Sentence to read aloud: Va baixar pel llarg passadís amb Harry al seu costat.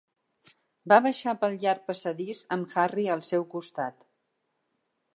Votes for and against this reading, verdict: 3, 0, accepted